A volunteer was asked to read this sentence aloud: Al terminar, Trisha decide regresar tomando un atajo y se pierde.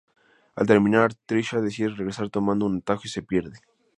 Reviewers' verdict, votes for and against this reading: rejected, 0, 2